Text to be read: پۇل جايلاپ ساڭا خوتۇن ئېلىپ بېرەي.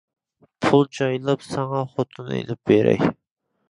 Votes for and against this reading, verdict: 2, 0, accepted